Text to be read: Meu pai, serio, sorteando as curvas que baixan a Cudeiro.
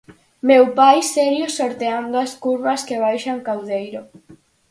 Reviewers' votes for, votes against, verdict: 0, 4, rejected